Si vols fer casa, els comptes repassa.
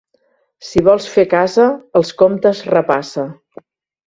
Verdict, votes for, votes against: accepted, 2, 0